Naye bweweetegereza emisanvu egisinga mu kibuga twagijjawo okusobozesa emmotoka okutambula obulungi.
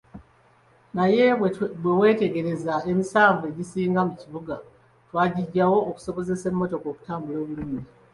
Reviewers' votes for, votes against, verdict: 2, 0, accepted